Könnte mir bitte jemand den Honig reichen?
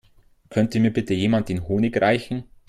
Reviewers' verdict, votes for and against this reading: accepted, 3, 0